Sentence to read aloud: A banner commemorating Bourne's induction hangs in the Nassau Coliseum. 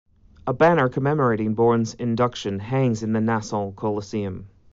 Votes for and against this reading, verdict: 2, 0, accepted